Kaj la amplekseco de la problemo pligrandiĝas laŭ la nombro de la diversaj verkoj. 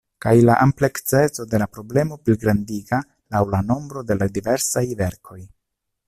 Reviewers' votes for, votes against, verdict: 1, 2, rejected